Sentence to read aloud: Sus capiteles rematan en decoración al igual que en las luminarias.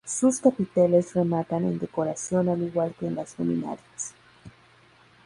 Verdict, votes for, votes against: rejected, 0, 2